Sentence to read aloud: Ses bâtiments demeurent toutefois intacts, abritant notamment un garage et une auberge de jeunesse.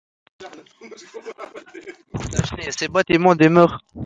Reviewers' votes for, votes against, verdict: 0, 2, rejected